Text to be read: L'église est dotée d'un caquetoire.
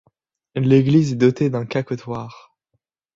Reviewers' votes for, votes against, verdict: 1, 2, rejected